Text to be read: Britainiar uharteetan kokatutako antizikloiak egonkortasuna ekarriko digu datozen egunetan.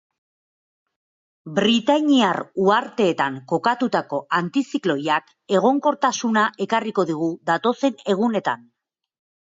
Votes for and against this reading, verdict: 4, 1, accepted